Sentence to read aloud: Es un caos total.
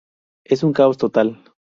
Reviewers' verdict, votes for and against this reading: rejected, 0, 2